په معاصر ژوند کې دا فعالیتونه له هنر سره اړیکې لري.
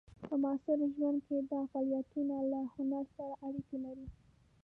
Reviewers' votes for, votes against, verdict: 1, 2, rejected